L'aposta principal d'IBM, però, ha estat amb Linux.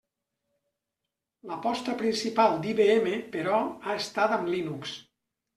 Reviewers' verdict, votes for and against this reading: accepted, 3, 0